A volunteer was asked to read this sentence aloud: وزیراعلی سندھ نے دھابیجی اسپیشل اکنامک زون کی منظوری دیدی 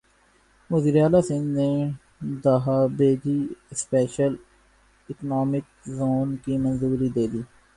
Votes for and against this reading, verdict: 2, 2, rejected